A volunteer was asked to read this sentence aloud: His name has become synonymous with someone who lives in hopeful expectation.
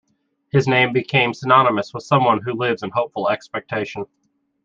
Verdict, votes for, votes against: accepted, 2, 0